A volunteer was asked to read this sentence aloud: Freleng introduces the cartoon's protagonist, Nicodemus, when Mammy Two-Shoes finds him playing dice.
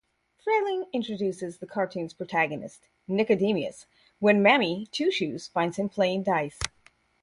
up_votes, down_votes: 4, 0